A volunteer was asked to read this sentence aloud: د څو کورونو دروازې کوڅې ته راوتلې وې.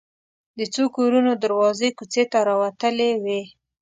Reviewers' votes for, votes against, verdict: 2, 0, accepted